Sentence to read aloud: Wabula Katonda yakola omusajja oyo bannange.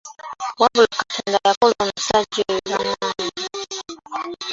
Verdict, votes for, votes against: rejected, 1, 2